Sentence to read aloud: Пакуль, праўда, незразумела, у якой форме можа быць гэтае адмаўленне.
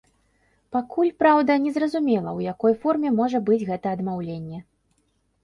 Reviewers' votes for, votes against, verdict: 0, 2, rejected